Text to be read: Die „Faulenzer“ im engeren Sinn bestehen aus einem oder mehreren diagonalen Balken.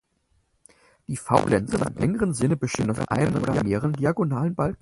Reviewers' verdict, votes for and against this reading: rejected, 0, 4